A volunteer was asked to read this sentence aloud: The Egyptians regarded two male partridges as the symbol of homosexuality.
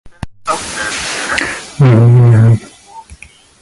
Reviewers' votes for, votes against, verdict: 0, 2, rejected